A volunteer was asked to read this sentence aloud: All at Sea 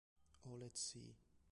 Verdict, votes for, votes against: rejected, 0, 2